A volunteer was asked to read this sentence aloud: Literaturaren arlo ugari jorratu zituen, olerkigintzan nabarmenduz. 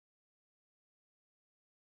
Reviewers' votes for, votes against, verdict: 0, 6, rejected